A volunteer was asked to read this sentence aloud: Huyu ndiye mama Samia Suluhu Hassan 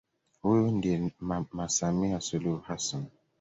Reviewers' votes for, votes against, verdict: 2, 0, accepted